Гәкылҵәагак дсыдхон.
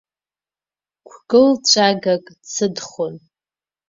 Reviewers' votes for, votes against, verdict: 1, 2, rejected